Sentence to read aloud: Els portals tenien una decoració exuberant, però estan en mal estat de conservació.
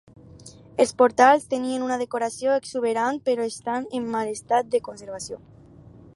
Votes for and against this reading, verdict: 4, 0, accepted